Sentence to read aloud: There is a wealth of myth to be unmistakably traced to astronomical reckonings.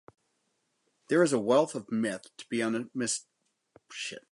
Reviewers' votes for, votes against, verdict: 2, 4, rejected